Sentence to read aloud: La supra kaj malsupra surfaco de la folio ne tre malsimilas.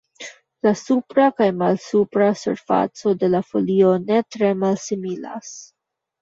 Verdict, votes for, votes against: accepted, 2, 1